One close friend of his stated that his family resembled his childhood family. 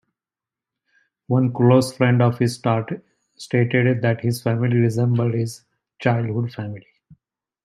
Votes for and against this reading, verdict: 1, 2, rejected